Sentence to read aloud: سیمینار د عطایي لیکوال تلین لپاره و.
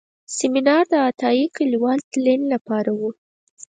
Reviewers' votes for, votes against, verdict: 4, 0, accepted